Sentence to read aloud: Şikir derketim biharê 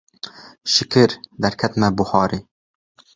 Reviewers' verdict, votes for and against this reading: rejected, 1, 2